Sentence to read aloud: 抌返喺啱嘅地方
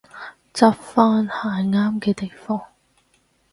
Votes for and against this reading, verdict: 0, 4, rejected